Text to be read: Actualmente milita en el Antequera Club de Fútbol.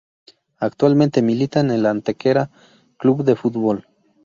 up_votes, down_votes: 2, 0